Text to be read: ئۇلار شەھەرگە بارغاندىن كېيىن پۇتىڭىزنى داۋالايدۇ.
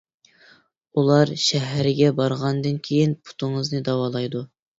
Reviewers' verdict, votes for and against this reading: accepted, 2, 0